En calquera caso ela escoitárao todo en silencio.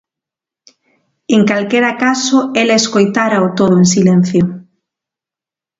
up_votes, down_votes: 2, 0